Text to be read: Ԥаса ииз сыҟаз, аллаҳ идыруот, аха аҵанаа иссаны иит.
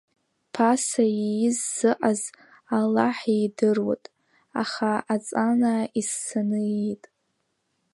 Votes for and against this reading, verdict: 2, 0, accepted